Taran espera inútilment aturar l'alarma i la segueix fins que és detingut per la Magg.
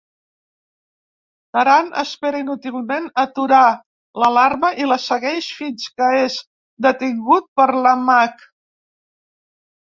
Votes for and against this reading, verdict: 2, 0, accepted